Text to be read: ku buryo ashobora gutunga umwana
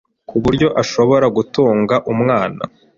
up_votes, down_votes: 2, 0